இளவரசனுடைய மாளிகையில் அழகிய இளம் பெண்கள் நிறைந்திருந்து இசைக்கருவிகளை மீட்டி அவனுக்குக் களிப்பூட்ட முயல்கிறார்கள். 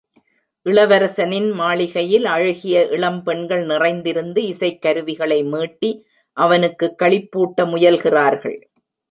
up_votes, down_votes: 0, 2